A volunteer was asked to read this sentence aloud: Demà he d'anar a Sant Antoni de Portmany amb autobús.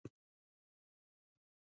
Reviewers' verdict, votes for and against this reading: rejected, 0, 2